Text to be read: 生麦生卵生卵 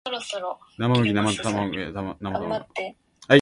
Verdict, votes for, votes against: rejected, 1, 2